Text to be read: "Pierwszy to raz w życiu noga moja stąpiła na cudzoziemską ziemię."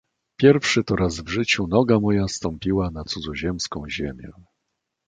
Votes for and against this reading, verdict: 2, 0, accepted